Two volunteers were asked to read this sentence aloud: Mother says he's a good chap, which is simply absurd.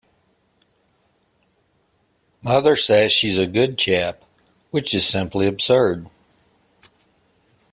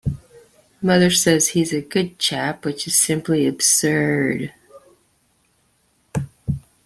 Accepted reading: second